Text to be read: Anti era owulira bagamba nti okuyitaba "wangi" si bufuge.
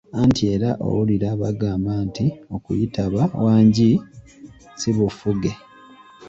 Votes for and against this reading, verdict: 0, 2, rejected